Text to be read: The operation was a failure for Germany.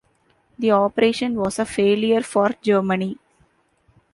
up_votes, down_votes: 2, 0